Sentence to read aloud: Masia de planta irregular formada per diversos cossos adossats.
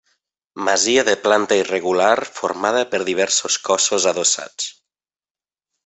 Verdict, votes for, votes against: accepted, 3, 1